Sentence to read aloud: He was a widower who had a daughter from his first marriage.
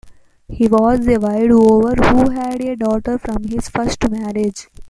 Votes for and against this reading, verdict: 1, 2, rejected